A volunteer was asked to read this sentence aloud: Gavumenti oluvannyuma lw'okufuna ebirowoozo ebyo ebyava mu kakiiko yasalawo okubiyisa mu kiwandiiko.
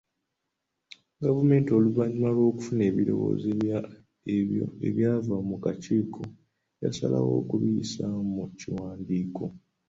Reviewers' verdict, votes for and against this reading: accepted, 2, 1